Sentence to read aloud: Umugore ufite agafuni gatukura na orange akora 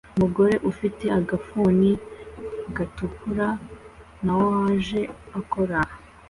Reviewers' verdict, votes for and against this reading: accepted, 2, 0